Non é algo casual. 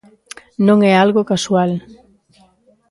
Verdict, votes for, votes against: rejected, 0, 2